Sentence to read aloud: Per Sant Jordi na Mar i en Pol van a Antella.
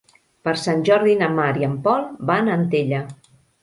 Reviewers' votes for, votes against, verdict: 3, 0, accepted